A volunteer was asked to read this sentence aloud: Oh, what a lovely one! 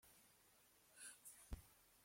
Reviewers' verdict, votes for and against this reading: rejected, 1, 2